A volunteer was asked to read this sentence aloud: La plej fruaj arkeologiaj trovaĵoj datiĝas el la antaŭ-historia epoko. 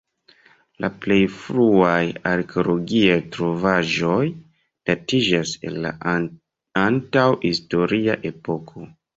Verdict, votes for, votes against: accepted, 2, 1